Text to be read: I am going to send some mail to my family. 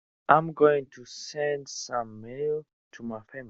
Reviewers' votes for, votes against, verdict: 0, 2, rejected